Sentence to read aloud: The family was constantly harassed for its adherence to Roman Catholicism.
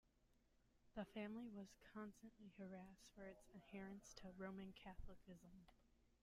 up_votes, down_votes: 1, 2